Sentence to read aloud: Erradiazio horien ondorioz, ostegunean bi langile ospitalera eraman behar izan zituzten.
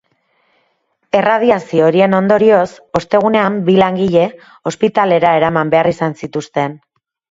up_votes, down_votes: 2, 0